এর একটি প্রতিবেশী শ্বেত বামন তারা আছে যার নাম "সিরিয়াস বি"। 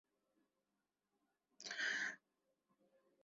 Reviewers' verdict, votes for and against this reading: rejected, 0, 7